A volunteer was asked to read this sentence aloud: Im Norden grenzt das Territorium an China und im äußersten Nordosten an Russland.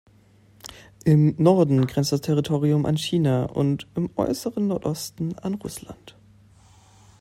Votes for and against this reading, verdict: 0, 2, rejected